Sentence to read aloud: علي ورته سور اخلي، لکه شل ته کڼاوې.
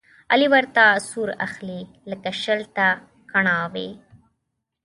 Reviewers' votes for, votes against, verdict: 2, 1, accepted